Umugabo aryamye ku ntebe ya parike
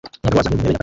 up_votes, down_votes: 0, 3